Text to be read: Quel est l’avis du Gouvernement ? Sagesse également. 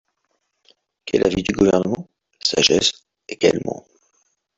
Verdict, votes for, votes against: rejected, 1, 2